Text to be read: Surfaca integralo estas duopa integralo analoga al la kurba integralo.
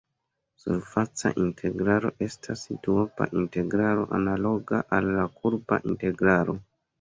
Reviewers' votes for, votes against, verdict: 2, 0, accepted